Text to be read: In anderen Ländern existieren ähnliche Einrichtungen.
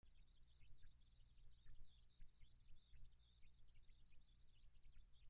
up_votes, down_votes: 0, 2